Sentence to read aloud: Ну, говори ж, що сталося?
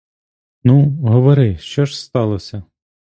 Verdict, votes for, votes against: rejected, 1, 2